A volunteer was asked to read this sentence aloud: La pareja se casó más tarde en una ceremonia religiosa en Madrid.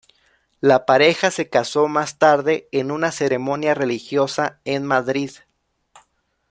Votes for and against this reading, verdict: 2, 0, accepted